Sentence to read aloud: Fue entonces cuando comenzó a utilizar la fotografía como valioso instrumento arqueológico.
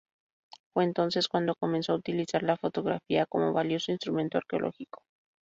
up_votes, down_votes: 2, 0